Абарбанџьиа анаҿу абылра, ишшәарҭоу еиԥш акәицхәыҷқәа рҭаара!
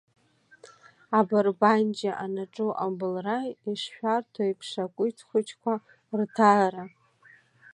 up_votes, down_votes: 2, 1